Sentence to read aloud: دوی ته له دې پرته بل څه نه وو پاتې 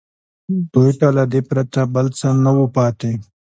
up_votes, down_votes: 2, 0